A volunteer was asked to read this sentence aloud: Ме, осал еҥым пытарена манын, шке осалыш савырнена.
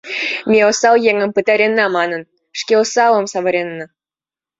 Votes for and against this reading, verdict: 0, 2, rejected